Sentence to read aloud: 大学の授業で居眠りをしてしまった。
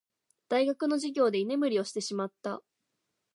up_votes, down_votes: 3, 0